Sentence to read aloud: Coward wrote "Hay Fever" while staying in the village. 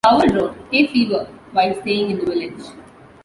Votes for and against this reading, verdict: 2, 0, accepted